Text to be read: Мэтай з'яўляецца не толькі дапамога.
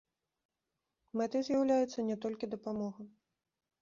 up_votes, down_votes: 2, 0